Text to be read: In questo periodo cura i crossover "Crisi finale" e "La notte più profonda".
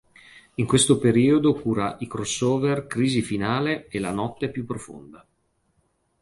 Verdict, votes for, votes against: accepted, 2, 0